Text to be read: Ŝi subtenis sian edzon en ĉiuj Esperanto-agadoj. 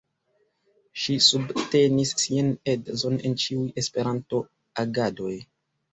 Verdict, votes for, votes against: accepted, 2, 1